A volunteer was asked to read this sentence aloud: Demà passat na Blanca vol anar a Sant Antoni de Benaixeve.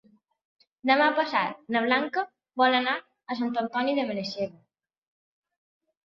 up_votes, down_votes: 3, 1